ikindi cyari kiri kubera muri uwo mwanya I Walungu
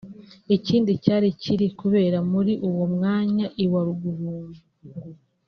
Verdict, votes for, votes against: accepted, 2, 0